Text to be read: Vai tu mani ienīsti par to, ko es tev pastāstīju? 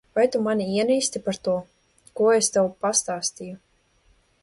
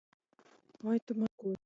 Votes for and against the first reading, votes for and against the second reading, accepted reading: 2, 0, 0, 2, first